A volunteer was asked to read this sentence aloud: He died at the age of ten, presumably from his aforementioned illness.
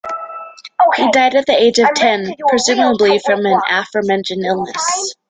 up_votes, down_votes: 0, 2